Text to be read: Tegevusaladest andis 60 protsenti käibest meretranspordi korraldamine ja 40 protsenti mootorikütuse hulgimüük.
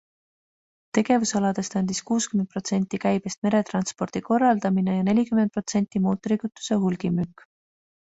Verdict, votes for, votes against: rejected, 0, 2